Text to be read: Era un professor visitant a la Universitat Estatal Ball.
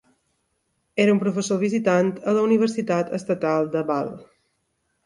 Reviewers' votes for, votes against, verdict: 2, 1, accepted